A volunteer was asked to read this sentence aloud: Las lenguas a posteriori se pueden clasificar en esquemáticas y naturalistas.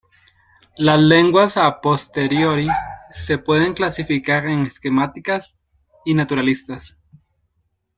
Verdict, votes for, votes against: rejected, 1, 2